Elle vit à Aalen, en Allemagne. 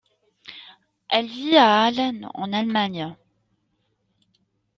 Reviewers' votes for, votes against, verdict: 2, 0, accepted